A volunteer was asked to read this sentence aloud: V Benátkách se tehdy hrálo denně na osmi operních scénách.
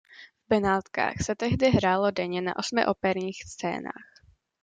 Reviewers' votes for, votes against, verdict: 2, 0, accepted